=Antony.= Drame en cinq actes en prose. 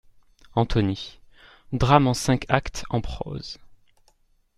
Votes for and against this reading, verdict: 2, 0, accepted